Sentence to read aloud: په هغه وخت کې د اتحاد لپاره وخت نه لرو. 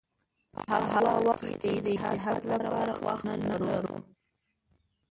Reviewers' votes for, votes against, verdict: 0, 2, rejected